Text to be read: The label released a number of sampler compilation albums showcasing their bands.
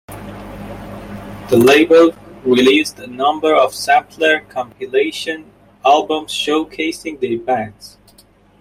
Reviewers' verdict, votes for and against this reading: rejected, 1, 2